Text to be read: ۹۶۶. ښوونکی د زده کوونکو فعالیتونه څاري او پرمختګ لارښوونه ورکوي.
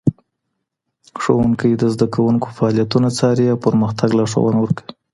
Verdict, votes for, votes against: rejected, 0, 2